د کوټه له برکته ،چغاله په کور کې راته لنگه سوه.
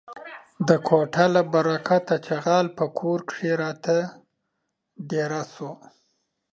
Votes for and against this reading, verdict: 0, 2, rejected